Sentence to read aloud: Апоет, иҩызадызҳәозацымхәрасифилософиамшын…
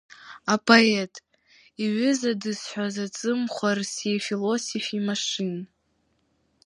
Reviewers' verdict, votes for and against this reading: rejected, 1, 2